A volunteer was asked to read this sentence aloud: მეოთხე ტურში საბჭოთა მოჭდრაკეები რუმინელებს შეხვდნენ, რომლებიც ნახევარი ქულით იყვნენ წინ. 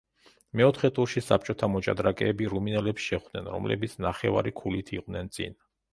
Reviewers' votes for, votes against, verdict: 2, 0, accepted